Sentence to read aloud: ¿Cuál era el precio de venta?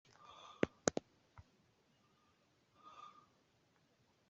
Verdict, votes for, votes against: rejected, 0, 2